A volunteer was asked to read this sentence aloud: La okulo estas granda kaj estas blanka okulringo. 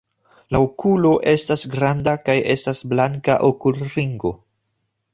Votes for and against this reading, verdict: 2, 0, accepted